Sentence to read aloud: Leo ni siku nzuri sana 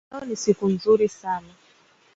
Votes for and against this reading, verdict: 2, 0, accepted